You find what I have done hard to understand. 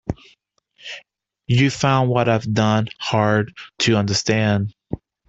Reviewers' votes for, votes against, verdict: 1, 2, rejected